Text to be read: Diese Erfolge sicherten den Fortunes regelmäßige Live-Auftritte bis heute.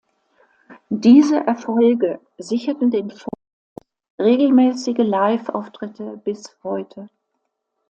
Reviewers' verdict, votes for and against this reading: rejected, 0, 2